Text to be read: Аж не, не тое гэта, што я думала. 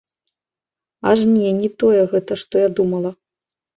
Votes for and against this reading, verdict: 2, 1, accepted